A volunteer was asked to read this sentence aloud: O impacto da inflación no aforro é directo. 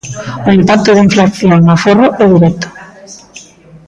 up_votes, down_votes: 0, 2